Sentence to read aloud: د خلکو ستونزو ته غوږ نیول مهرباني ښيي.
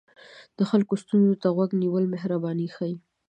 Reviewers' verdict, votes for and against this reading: rejected, 0, 2